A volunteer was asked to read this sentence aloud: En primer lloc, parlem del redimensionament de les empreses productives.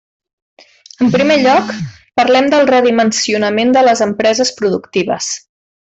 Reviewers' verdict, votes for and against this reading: accepted, 3, 0